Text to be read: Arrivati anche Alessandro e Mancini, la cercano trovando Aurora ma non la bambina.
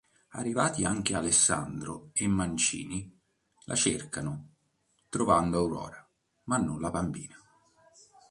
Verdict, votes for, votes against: accepted, 2, 0